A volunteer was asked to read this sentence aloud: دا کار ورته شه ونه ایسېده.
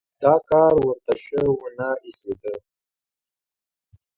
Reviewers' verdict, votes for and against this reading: accepted, 2, 0